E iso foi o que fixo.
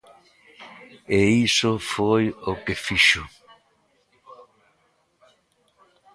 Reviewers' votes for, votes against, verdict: 2, 0, accepted